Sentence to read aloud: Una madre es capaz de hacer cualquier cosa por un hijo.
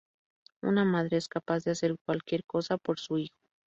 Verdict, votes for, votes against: rejected, 0, 2